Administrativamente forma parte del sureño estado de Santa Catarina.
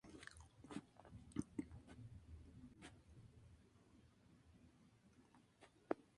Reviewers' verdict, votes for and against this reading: rejected, 0, 2